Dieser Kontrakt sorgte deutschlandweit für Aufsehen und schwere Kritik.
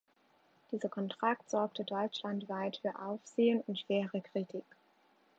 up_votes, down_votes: 2, 0